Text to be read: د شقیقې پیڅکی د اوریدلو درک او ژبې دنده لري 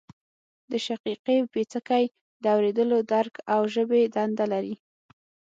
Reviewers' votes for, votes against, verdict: 9, 0, accepted